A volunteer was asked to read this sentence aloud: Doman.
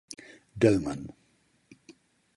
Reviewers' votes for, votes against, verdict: 2, 4, rejected